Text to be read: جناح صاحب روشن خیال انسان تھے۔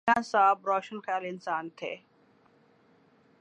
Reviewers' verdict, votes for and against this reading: accepted, 2, 0